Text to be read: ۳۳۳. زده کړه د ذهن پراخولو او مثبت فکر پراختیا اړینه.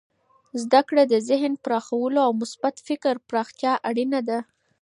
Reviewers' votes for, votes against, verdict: 0, 2, rejected